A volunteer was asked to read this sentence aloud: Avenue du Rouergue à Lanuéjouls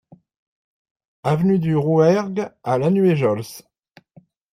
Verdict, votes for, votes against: accepted, 2, 0